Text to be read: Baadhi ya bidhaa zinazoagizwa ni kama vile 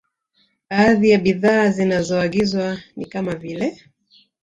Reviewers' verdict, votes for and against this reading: accepted, 2, 0